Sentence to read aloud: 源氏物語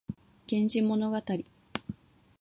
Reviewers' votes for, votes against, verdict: 2, 0, accepted